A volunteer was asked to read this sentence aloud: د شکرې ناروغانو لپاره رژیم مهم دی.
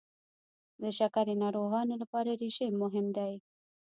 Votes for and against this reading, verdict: 1, 2, rejected